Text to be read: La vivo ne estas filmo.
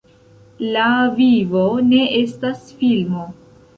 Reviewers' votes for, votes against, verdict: 2, 0, accepted